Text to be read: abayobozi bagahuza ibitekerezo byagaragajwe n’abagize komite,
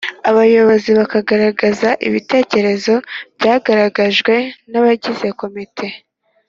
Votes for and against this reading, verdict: 1, 2, rejected